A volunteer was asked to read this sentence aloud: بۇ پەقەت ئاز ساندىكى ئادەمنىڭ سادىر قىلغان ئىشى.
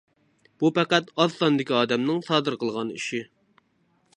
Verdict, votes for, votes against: accepted, 3, 0